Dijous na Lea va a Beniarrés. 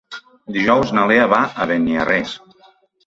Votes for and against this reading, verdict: 2, 0, accepted